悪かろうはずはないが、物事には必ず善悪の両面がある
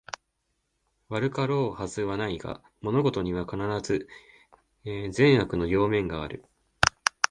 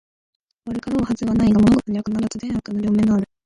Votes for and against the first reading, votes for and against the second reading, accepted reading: 1, 2, 2, 1, second